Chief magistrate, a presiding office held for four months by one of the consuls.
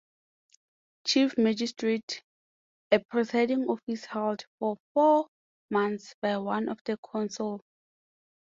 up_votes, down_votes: 0, 2